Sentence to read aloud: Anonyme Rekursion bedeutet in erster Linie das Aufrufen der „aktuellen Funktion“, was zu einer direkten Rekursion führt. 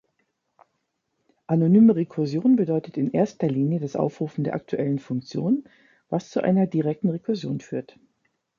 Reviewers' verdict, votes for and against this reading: accepted, 2, 0